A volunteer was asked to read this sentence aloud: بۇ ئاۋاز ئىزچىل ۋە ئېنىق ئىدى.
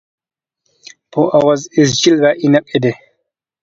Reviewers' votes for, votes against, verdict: 2, 0, accepted